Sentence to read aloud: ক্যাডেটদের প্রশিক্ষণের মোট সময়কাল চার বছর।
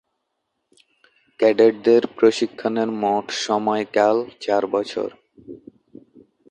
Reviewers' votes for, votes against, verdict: 1, 2, rejected